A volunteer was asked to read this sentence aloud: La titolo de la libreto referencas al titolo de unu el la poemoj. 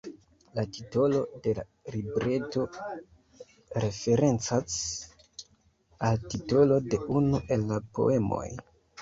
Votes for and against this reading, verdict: 1, 2, rejected